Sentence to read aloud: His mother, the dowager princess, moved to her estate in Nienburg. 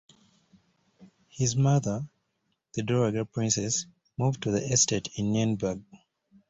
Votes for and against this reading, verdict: 2, 0, accepted